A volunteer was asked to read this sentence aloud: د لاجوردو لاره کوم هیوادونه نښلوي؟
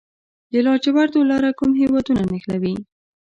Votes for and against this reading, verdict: 1, 2, rejected